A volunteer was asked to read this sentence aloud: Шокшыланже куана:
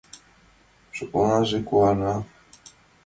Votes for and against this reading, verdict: 0, 2, rejected